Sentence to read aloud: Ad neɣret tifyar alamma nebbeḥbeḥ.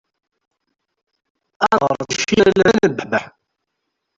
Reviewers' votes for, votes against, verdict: 0, 2, rejected